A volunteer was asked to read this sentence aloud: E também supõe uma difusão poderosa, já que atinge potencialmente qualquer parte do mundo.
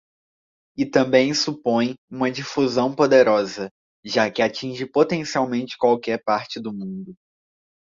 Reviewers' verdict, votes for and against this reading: accepted, 2, 0